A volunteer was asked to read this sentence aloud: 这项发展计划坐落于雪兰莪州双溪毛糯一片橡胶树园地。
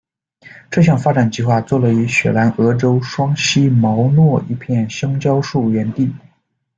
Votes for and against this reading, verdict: 2, 0, accepted